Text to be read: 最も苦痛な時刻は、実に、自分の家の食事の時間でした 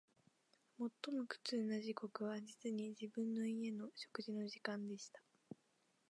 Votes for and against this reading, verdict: 3, 1, accepted